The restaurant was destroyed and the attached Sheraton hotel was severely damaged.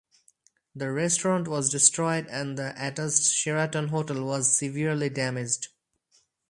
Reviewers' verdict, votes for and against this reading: rejected, 2, 2